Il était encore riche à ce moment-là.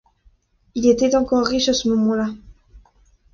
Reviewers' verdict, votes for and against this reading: rejected, 0, 2